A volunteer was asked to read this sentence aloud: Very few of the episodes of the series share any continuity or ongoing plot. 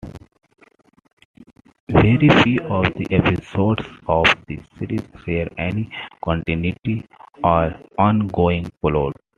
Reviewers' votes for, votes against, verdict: 2, 0, accepted